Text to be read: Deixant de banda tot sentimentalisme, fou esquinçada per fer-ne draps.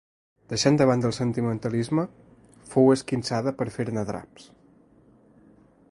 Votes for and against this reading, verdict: 0, 2, rejected